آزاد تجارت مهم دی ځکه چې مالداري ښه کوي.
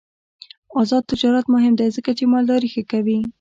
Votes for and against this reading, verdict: 1, 2, rejected